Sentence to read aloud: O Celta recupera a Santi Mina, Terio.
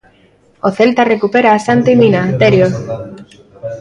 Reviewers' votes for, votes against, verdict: 2, 0, accepted